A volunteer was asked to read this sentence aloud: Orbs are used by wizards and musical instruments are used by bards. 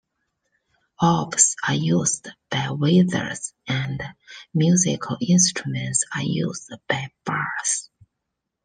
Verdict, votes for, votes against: rejected, 1, 2